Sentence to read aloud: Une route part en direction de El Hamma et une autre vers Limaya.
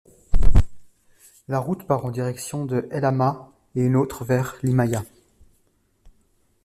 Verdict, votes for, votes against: rejected, 0, 2